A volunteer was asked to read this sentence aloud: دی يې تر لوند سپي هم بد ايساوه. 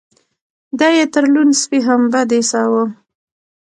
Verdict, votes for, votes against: rejected, 0, 2